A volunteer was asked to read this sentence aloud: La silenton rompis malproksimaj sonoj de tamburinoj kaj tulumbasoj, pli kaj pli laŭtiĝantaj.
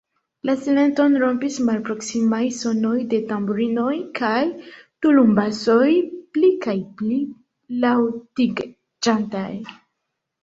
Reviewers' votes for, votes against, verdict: 0, 2, rejected